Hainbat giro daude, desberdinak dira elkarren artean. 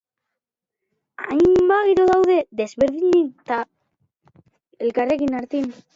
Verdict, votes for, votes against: rejected, 0, 2